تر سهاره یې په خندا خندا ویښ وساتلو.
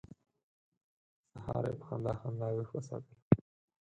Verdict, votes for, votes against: rejected, 2, 4